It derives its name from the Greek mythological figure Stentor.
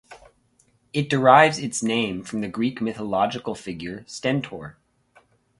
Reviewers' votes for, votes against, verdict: 4, 0, accepted